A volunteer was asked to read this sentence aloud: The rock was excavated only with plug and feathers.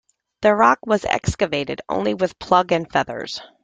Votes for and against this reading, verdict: 2, 0, accepted